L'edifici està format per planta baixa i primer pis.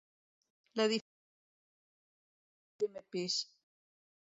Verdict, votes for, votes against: rejected, 0, 2